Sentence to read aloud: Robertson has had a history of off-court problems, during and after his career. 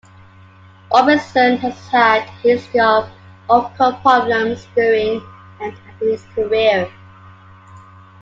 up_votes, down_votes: 0, 2